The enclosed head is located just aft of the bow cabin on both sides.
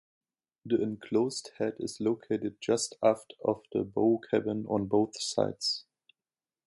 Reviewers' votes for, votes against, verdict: 2, 1, accepted